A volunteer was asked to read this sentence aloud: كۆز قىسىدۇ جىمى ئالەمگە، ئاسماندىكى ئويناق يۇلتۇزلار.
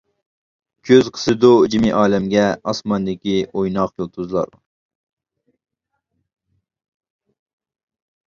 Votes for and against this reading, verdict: 2, 0, accepted